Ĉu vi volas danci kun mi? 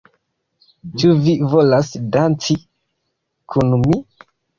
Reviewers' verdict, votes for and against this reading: accepted, 2, 0